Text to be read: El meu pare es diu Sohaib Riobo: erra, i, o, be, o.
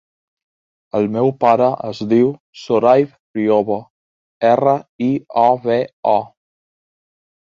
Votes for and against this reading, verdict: 2, 1, accepted